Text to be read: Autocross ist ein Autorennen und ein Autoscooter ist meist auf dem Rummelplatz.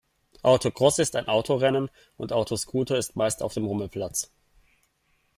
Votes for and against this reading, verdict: 2, 1, accepted